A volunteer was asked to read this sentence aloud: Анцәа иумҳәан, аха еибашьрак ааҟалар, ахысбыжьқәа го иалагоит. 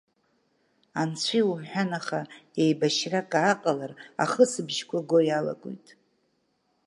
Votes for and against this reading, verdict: 2, 0, accepted